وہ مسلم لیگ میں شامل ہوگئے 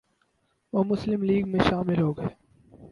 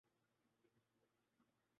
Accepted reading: first